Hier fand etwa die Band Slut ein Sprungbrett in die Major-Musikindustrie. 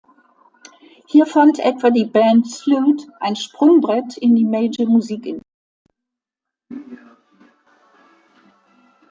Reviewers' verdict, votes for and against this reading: rejected, 0, 2